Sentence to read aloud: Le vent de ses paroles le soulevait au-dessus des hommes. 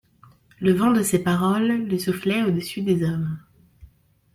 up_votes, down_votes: 0, 2